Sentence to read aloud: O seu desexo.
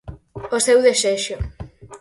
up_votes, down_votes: 4, 0